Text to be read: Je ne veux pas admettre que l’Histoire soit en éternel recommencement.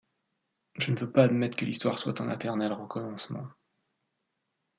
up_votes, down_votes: 1, 2